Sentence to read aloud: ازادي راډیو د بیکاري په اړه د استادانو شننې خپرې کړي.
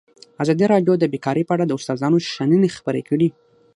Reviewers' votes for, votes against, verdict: 6, 0, accepted